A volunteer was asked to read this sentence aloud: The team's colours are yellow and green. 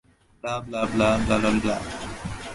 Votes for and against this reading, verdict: 0, 2, rejected